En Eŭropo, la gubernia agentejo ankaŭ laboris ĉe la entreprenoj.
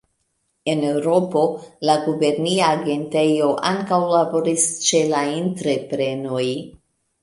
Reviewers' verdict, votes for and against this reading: rejected, 1, 2